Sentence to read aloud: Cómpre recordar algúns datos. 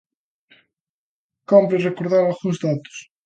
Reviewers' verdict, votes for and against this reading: accepted, 3, 0